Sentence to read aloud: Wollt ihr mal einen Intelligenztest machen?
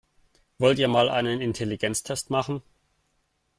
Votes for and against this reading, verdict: 2, 0, accepted